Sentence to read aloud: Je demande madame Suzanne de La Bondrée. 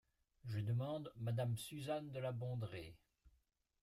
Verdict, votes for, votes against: accepted, 2, 0